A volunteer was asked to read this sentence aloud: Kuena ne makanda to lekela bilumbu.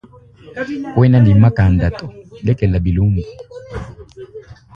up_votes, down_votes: 1, 3